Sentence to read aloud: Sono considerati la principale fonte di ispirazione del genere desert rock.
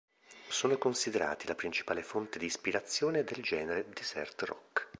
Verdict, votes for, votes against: accepted, 2, 0